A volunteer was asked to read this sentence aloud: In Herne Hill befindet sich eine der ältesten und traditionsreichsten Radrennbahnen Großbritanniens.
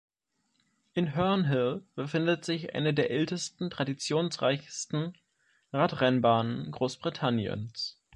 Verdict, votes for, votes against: rejected, 1, 2